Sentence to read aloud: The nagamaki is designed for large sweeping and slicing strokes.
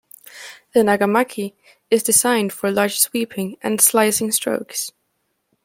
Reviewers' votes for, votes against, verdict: 2, 0, accepted